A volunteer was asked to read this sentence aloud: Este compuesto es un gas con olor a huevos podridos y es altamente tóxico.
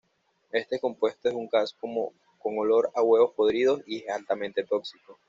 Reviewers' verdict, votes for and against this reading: rejected, 1, 2